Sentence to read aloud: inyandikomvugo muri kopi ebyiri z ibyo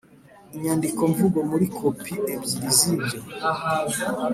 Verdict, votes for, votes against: accepted, 2, 0